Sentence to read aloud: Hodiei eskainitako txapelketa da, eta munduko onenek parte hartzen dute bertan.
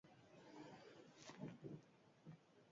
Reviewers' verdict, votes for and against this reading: rejected, 0, 10